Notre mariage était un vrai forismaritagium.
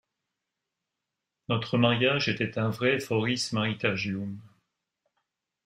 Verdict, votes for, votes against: accepted, 2, 0